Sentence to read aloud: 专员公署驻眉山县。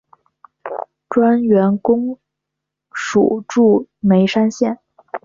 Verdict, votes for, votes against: accepted, 2, 0